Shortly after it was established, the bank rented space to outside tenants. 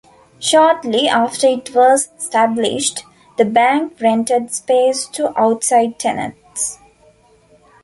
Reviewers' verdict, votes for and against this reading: accepted, 2, 0